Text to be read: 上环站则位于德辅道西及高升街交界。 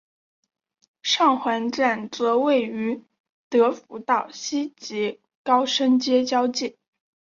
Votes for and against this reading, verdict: 7, 0, accepted